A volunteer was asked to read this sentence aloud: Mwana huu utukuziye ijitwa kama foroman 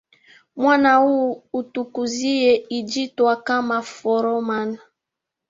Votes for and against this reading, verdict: 2, 1, accepted